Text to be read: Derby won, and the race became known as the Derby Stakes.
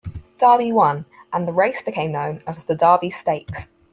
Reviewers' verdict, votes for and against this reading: accepted, 4, 0